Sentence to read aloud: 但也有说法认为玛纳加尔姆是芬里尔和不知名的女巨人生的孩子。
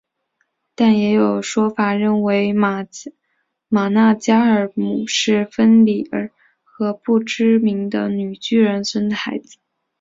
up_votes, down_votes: 1, 2